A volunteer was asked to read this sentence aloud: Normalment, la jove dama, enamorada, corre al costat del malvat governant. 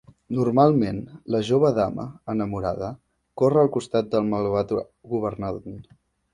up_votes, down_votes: 1, 2